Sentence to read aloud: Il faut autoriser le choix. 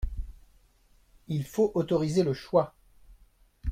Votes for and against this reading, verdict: 2, 0, accepted